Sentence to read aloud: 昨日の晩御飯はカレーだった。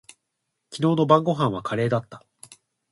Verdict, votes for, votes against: accepted, 2, 1